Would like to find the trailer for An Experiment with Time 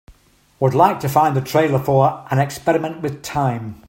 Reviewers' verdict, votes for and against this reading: accepted, 2, 0